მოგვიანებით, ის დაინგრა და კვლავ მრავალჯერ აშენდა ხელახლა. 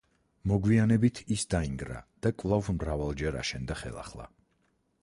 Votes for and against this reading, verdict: 4, 0, accepted